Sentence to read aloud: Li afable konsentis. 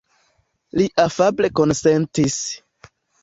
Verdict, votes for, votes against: accepted, 2, 0